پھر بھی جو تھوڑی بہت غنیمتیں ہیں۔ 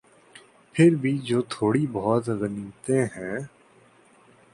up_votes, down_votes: 2, 1